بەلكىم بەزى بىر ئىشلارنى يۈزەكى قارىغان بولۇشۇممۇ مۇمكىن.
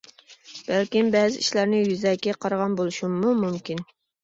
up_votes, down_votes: 0, 2